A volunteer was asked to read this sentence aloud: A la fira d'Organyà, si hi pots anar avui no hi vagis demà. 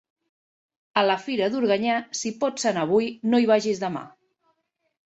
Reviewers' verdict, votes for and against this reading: accepted, 2, 1